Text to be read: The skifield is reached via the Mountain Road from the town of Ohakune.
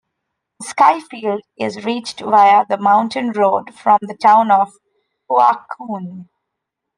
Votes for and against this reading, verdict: 1, 3, rejected